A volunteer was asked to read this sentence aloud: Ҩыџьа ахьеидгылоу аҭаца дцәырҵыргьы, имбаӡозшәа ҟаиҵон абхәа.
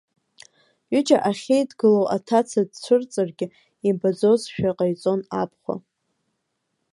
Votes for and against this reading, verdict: 2, 0, accepted